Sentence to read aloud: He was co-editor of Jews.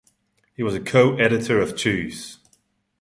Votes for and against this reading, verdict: 2, 0, accepted